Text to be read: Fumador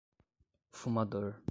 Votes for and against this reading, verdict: 5, 5, rejected